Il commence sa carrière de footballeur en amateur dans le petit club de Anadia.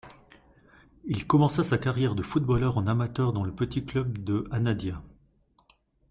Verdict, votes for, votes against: rejected, 1, 2